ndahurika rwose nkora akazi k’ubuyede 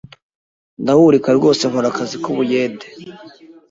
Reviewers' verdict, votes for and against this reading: accepted, 2, 0